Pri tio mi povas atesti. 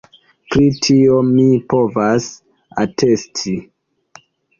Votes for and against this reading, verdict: 2, 0, accepted